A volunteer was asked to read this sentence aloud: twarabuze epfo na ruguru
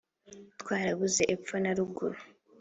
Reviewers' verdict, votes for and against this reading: accepted, 2, 0